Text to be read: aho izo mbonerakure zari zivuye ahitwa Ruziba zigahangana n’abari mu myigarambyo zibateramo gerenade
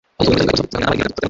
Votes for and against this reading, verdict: 1, 2, rejected